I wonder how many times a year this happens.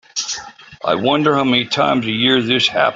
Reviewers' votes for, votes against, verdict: 0, 2, rejected